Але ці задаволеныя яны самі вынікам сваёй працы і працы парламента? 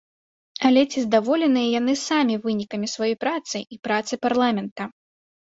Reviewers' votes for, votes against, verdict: 0, 2, rejected